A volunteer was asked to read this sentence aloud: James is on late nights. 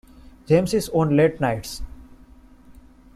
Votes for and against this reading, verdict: 2, 0, accepted